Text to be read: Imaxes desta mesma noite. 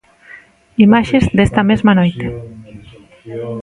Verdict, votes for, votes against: rejected, 1, 2